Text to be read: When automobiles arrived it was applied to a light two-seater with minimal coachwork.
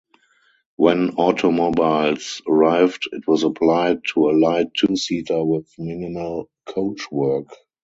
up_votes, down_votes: 2, 2